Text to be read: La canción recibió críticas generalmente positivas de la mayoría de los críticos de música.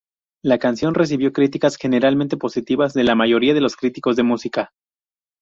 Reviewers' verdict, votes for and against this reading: accepted, 2, 0